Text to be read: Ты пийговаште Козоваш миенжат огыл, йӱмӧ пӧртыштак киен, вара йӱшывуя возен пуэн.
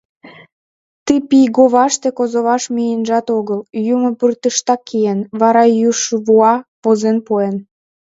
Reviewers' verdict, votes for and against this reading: rejected, 0, 2